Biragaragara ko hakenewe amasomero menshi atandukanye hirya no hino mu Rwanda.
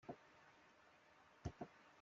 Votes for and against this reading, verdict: 0, 2, rejected